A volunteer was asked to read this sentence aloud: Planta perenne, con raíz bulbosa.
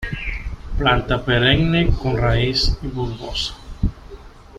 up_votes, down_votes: 2, 0